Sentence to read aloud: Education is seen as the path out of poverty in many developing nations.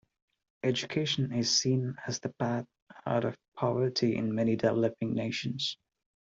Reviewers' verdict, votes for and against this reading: rejected, 0, 2